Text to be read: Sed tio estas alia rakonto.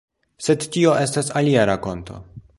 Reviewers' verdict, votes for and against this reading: accepted, 2, 0